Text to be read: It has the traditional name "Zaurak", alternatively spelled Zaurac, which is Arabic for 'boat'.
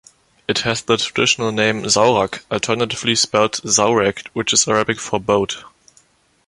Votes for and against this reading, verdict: 2, 0, accepted